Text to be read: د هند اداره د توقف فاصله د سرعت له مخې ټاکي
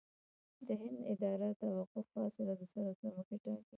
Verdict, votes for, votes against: rejected, 0, 2